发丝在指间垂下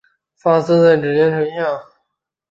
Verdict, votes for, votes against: rejected, 1, 2